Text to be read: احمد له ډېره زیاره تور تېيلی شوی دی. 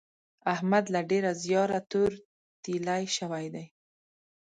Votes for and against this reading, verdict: 2, 0, accepted